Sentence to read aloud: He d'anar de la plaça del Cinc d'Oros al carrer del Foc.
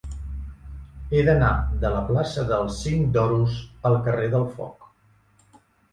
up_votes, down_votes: 2, 0